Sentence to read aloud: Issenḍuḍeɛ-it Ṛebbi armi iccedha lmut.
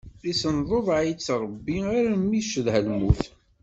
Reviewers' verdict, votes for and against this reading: rejected, 1, 2